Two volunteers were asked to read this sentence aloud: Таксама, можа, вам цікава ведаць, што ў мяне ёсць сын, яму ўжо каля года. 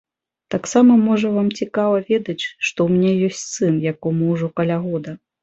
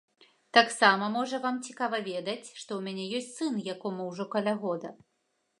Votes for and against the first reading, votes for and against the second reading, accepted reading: 2, 0, 1, 2, first